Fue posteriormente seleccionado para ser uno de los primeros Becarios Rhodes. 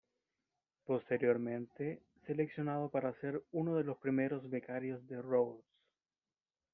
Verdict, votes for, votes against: rejected, 0, 2